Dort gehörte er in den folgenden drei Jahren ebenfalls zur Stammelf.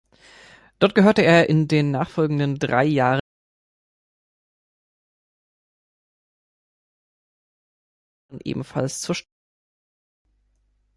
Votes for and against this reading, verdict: 1, 2, rejected